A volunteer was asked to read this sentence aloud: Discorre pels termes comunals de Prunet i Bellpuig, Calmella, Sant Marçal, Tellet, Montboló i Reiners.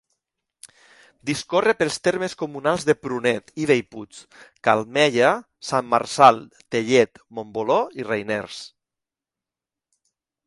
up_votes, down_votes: 2, 0